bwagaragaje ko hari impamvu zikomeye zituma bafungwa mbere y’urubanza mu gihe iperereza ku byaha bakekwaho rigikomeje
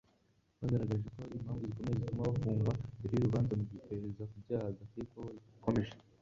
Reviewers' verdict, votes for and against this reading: accepted, 2, 1